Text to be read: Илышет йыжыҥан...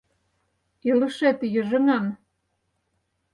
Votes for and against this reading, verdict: 4, 0, accepted